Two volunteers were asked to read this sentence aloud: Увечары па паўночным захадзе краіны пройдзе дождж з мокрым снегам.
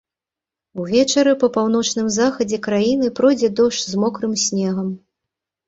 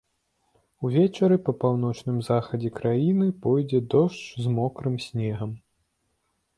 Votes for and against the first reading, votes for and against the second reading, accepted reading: 2, 0, 1, 2, first